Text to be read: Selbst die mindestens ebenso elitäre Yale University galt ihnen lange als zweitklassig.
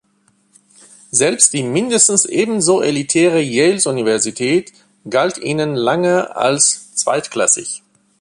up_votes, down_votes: 0, 2